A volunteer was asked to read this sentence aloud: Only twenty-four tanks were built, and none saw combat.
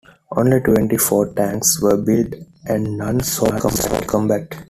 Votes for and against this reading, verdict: 0, 2, rejected